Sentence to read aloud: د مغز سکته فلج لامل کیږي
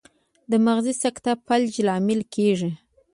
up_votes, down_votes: 1, 2